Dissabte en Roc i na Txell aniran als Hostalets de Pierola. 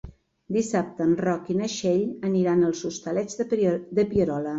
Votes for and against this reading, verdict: 1, 2, rejected